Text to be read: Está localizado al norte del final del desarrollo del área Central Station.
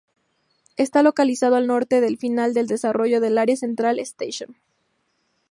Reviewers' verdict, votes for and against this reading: accepted, 2, 0